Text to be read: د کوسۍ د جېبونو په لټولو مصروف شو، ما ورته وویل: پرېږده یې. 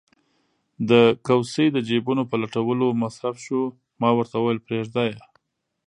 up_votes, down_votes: 0, 2